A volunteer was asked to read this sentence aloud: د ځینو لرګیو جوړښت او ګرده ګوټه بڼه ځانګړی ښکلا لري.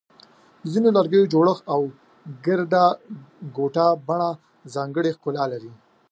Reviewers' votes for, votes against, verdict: 2, 0, accepted